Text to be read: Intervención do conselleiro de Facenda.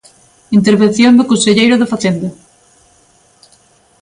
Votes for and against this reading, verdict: 3, 0, accepted